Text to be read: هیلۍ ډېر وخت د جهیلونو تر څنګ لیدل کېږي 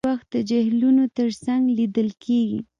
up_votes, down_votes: 2, 0